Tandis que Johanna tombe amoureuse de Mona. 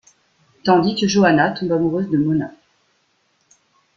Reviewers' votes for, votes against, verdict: 2, 0, accepted